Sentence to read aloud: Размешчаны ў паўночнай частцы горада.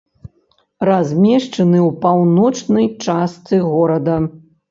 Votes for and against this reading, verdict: 3, 0, accepted